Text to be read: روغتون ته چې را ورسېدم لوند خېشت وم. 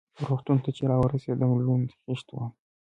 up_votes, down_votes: 2, 1